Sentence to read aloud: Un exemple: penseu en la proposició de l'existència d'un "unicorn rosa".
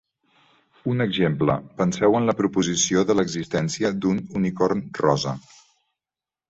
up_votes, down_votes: 3, 0